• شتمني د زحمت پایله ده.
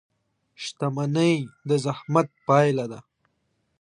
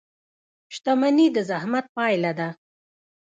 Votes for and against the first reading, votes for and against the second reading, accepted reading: 2, 0, 1, 2, first